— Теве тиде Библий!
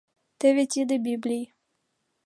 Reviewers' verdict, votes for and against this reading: accepted, 2, 1